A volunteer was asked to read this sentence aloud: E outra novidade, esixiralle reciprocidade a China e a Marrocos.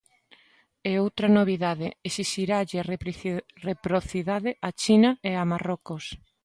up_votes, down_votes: 0, 2